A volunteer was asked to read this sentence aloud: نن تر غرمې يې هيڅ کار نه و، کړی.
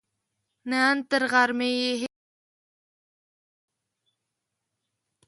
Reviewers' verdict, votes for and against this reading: rejected, 0, 4